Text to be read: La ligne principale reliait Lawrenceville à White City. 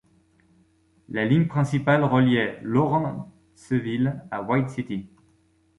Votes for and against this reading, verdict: 1, 2, rejected